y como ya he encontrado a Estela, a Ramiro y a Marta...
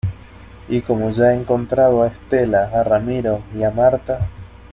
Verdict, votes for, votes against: accepted, 2, 0